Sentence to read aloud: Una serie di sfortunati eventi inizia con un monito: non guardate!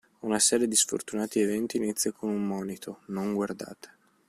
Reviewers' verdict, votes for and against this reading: accepted, 2, 0